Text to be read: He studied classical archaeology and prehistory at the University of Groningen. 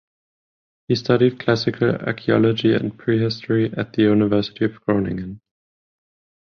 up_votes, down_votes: 15, 0